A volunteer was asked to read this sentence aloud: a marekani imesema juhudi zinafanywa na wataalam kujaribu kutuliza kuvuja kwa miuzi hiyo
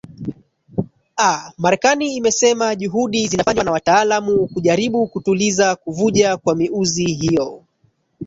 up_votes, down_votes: 1, 2